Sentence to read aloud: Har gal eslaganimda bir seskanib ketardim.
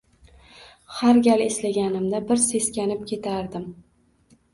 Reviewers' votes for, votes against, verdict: 1, 2, rejected